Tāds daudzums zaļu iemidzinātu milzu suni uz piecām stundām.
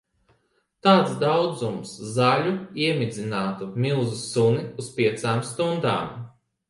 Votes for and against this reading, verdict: 1, 2, rejected